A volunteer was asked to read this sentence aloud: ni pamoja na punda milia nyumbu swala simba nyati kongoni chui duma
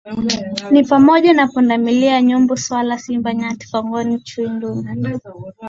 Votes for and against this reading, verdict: 2, 1, accepted